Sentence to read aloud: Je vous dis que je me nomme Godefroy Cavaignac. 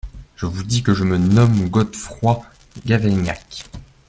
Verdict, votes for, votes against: rejected, 1, 2